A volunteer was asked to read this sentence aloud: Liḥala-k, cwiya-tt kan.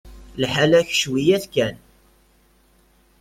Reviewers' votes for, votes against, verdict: 1, 2, rejected